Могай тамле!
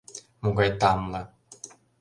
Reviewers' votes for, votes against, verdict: 2, 0, accepted